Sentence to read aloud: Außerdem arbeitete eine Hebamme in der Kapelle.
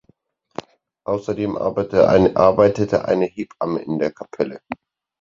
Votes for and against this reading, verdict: 2, 4, rejected